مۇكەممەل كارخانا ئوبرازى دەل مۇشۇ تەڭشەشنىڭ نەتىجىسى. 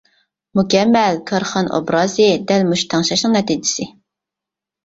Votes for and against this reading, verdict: 2, 0, accepted